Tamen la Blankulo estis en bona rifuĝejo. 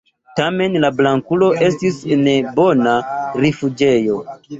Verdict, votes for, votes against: accepted, 2, 1